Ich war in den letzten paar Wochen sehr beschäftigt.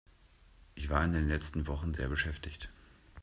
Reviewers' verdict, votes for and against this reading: rejected, 1, 2